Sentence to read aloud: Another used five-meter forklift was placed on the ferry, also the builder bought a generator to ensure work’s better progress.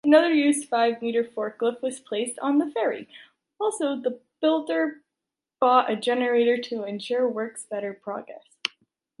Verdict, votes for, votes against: rejected, 1, 2